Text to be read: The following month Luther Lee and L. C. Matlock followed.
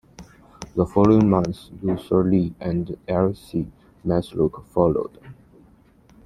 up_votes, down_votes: 2, 0